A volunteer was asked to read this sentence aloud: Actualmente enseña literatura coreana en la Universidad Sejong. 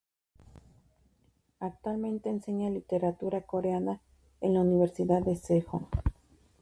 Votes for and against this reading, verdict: 2, 2, rejected